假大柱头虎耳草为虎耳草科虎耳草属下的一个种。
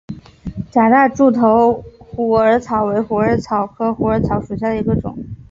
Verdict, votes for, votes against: accepted, 2, 1